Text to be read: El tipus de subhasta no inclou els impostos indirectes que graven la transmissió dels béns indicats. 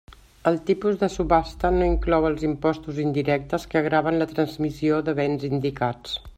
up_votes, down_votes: 0, 2